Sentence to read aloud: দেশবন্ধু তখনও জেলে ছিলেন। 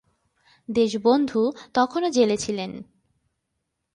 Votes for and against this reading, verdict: 2, 0, accepted